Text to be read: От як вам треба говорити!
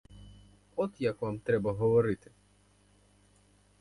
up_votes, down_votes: 2, 2